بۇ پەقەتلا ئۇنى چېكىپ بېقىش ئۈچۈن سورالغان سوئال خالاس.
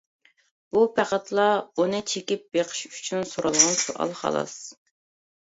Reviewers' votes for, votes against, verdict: 0, 2, rejected